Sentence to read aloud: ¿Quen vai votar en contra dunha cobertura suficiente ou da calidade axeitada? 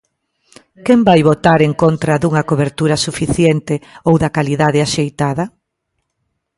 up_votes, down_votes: 2, 0